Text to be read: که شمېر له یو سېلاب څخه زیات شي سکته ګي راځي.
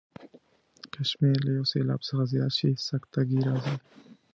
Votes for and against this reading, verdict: 2, 0, accepted